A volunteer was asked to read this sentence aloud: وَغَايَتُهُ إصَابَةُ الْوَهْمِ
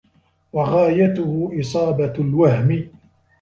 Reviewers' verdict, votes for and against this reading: accepted, 2, 1